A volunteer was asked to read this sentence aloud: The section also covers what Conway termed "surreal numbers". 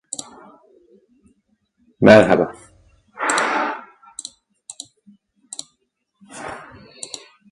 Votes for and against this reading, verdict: 0, 2, rejected